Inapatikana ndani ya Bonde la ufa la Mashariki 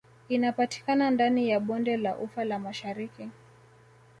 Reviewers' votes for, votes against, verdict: 2, 0, accepted